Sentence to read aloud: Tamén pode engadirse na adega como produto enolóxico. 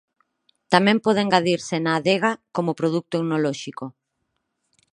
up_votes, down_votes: 2, 4